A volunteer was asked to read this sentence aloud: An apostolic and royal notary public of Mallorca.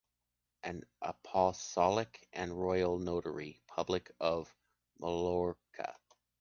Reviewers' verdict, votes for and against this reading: rejected, 0, 3